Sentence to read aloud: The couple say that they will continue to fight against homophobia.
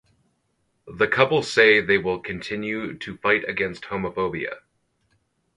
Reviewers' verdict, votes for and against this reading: rejected, 2, 4